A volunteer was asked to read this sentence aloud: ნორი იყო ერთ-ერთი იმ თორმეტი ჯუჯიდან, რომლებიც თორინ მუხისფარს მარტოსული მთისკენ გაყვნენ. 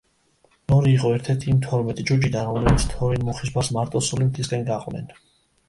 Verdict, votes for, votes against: rejected, 1, 2